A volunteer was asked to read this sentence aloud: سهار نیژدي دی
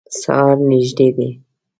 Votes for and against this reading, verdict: 2, 0, accepted